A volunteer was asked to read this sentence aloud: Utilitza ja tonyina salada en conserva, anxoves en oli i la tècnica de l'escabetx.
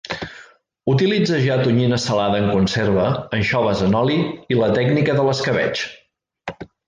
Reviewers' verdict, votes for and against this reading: accepted, 2, 0